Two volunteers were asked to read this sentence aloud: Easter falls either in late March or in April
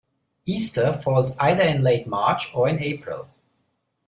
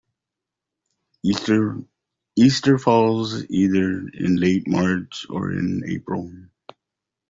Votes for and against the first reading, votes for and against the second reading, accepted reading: 3, 0, 0, 2, first